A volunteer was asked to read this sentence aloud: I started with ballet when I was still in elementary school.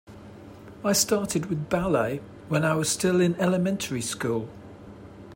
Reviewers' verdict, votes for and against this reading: accepted, 2, 0